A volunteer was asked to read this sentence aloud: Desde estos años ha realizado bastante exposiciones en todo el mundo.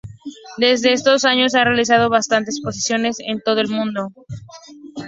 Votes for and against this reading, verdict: 2, 0, accepted